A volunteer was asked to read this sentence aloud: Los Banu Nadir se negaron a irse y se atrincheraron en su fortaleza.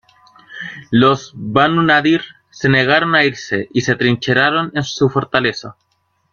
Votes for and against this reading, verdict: 2, 1, accepted